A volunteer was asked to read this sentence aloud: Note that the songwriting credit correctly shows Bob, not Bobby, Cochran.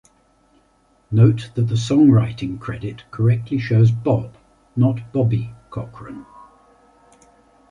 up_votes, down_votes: 2, 0